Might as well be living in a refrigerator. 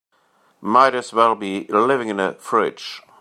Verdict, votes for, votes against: rejected, 0, 2